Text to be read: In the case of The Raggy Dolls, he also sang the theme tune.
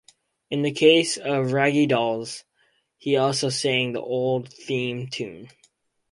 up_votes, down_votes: 2, 4